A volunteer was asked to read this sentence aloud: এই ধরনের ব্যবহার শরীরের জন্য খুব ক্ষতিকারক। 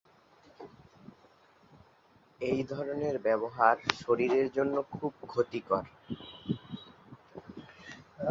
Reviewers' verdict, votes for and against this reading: rejected, 0, 2